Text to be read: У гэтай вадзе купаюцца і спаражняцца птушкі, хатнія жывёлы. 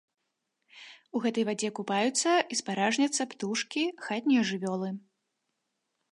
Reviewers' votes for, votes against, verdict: 2, 1, accepted